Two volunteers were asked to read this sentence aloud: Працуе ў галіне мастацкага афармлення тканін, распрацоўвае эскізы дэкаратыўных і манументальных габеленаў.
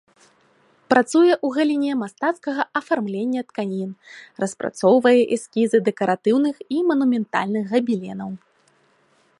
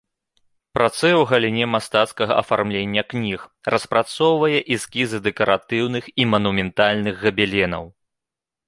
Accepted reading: first